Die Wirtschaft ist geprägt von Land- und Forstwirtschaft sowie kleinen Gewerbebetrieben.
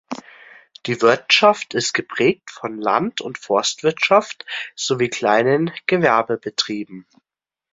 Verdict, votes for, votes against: accepted, 2, 0